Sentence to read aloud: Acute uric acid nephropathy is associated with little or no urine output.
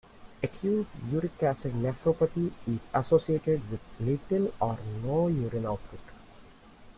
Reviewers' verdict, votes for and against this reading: accepted, 2, 0